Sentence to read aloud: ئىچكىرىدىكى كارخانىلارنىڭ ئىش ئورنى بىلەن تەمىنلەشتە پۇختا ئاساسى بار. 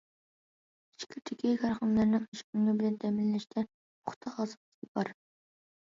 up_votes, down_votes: 0, 2